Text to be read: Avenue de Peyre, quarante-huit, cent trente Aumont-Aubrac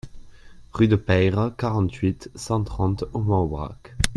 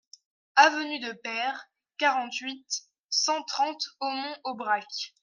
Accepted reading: second